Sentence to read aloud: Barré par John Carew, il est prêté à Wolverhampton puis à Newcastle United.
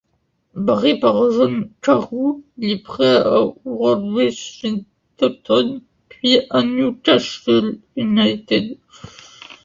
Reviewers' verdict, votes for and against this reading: rejected, 0, 2